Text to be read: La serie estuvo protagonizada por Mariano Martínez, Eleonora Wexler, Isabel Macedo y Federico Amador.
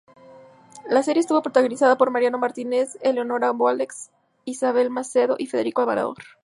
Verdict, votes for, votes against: rejected, 0, 2